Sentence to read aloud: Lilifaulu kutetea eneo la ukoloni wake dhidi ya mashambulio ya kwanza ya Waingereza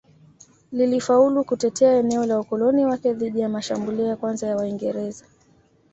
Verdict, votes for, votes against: accepted, 2, 0